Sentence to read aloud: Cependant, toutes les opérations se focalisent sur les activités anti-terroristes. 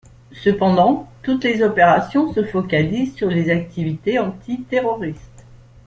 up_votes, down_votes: 1, 2